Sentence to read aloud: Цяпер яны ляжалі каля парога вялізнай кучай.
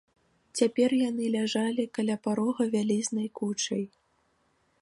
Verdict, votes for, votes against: accepted, 2, 0